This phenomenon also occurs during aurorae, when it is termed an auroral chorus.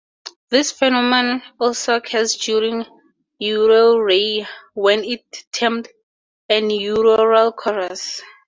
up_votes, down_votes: 2, 4